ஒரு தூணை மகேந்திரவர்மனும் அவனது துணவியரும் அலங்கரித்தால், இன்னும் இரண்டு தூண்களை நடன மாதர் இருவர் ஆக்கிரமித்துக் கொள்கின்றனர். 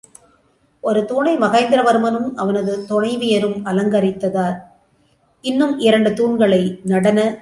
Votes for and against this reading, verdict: 0, 2, rejected